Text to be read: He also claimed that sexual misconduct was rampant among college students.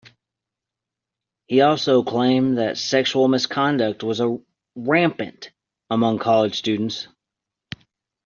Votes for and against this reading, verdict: 0, 2, rejected